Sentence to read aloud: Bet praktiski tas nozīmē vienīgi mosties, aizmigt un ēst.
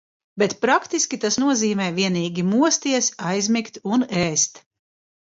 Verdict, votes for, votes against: rejected, 1, 2